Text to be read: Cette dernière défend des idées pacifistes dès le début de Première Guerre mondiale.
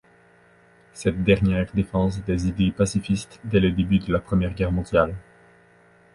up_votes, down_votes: 0, 2